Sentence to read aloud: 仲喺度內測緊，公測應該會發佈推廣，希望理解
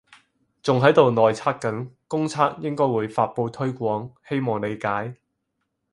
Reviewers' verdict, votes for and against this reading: accepted, 4, 0